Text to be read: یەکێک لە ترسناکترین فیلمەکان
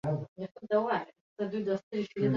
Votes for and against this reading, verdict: 0, 2, rejected